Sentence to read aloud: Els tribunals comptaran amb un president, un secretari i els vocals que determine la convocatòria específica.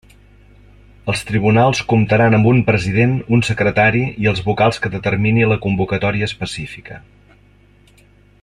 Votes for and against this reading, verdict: 0, 2, rejected